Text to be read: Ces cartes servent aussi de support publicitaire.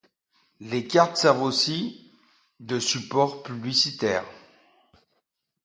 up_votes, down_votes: 0, 2